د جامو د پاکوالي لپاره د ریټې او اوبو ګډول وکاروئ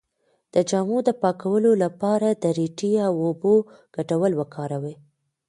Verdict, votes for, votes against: rejected, 0, 2